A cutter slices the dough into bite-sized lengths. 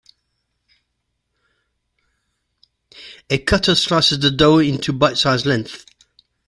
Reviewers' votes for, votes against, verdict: 1, 2, rejected